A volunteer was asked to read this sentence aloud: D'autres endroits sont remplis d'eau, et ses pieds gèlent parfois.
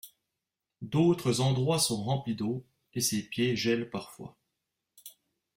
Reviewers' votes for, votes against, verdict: 0, 2, rejected